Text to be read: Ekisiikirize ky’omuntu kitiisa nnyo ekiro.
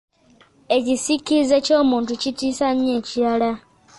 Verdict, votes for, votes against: rejected, 0, 2